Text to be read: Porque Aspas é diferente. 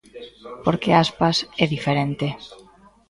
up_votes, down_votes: 2, 1